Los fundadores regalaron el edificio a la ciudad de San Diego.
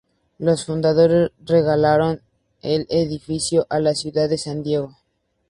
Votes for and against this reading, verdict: 2, 0, accepted